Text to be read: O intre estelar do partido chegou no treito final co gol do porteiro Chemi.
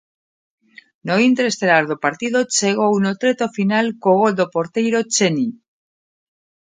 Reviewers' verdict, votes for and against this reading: rejected, 0, 2